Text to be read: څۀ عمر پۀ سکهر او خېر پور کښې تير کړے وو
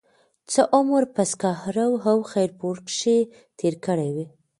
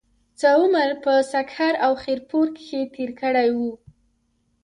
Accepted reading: second